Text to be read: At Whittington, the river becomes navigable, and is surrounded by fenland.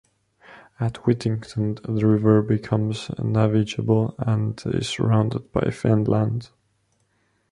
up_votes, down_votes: 1, 2